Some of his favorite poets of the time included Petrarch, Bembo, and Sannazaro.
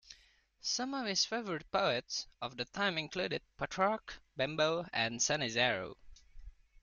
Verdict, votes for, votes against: accepted, 2, 0